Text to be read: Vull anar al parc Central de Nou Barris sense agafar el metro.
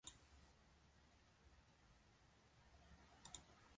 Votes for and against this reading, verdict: 0, 3, rejected